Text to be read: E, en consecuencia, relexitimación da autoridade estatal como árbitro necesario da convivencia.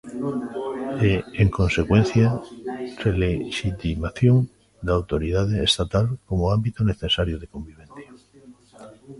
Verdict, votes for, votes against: rejected, 0, 2